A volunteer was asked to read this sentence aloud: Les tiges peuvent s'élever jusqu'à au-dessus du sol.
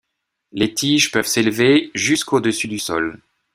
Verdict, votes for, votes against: rejected, 0, 2